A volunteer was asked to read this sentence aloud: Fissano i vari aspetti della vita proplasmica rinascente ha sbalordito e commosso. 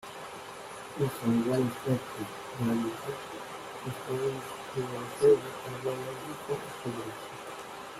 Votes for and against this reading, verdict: 0, 2, rejected